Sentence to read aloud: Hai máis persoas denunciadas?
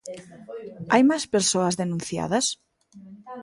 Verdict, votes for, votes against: rejected, 1, 2